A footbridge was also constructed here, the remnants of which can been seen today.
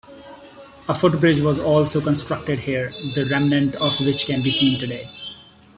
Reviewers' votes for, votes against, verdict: 2, 0, accepted